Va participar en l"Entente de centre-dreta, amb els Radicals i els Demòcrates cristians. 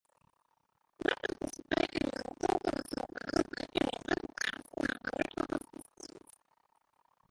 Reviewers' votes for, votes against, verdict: 0, 2, rejected